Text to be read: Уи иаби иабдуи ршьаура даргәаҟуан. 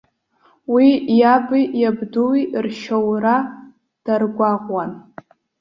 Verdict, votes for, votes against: accepted, 2, 0